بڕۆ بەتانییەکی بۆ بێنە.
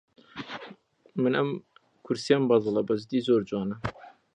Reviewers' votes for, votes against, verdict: 0, 2, rejected